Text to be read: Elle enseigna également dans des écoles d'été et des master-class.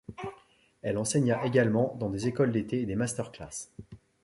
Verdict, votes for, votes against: accepted, 2, 0